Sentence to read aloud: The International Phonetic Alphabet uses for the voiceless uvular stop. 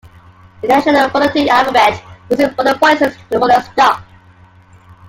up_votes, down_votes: 0, 2